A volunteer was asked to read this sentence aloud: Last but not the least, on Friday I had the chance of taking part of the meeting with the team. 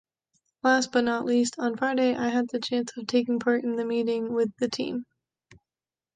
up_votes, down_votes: 1, 2